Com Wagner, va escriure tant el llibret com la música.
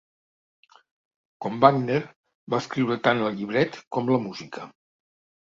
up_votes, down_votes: 0, 2